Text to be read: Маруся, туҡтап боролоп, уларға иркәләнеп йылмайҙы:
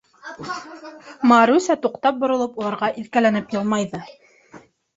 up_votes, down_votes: 0, 2